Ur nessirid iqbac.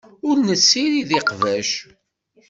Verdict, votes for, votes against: accepted, 2, 0